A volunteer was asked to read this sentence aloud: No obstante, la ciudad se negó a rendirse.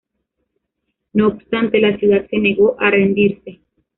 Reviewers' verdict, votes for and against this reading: rejected, 1, 2